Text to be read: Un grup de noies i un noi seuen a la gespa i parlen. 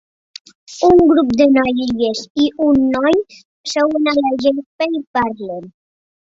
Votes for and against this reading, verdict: 2, 0, accepted